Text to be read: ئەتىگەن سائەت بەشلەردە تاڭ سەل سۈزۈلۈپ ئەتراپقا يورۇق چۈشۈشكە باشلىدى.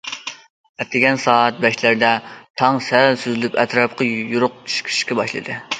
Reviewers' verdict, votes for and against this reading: rejected, 1, 2